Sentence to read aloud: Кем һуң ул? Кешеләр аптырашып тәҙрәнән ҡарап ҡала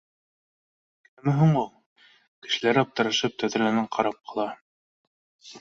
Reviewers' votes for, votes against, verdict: 1, 2, rejected